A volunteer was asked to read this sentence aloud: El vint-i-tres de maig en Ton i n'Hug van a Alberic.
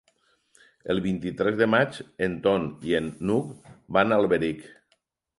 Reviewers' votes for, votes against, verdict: 2, 4, rejected